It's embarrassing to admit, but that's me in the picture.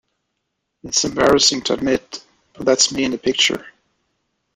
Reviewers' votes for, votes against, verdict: 2, 0, accepted